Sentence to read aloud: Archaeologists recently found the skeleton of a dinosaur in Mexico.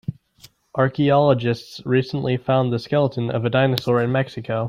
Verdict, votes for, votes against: accepted, 2, 0